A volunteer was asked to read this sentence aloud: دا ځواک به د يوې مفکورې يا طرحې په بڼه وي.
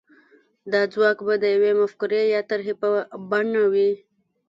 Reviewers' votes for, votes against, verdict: 0, 2, rejected